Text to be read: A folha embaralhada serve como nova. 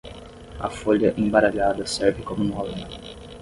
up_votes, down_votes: 0, 10